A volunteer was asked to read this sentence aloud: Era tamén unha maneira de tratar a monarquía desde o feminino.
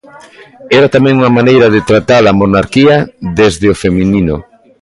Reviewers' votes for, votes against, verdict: 2, 0, accepted